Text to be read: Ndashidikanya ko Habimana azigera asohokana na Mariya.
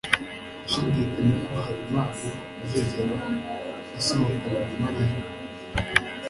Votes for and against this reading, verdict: 2, 0, accepted